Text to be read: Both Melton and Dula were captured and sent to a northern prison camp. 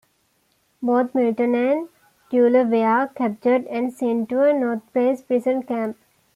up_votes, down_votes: 1, 2